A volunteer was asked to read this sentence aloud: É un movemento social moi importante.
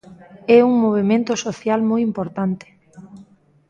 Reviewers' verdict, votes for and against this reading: rejected, 1, 2